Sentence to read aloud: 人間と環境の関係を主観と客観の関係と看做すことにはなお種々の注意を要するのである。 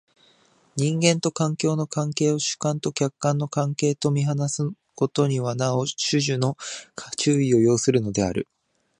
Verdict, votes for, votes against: rejected, 0, 2